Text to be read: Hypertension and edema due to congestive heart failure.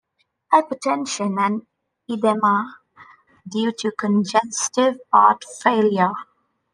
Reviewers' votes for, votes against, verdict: 2, 1, accepted